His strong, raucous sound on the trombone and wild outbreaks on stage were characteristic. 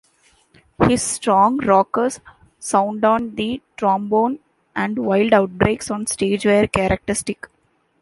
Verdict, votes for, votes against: rejected, 1, 2